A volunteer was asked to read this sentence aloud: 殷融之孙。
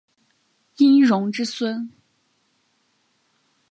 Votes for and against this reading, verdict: 3, 0, accepted